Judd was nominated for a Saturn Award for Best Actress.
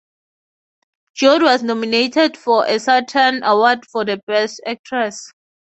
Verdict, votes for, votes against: rejected, 0, 3